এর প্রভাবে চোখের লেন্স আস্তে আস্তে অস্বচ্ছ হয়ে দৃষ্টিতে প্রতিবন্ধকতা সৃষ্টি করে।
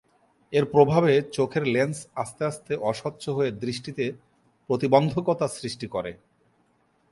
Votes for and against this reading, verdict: 2, 0, accepted